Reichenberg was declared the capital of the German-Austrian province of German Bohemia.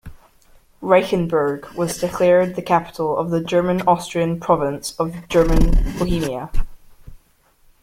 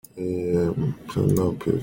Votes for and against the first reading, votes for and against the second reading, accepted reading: 2, 0, 0, 2, first